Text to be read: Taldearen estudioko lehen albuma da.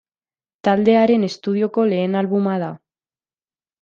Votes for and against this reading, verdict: 2, 0, accepted